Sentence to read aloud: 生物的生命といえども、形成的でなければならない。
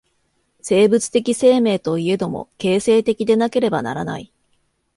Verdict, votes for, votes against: accepted, 2, 0